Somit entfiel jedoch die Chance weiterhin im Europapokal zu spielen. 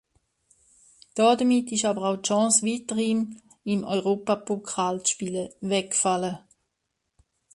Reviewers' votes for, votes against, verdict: 0, 2, rejected